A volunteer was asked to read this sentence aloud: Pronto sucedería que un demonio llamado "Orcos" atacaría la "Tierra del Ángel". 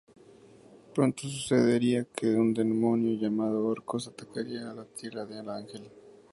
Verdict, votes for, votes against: rejected, 0, 2